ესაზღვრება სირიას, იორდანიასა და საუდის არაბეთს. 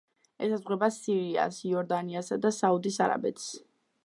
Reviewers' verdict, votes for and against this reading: accepted, 2, 0